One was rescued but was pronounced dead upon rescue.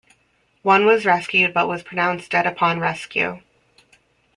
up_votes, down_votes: 2, 1